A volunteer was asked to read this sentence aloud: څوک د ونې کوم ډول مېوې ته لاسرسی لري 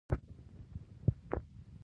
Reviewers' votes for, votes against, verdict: 0, 2, rejected